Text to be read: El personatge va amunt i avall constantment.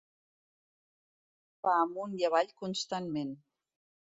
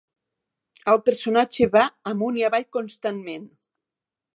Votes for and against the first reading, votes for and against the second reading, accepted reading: 1, 2, 6, 0, second